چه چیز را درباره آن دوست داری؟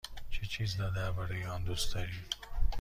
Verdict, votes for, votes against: accepted, 2, 0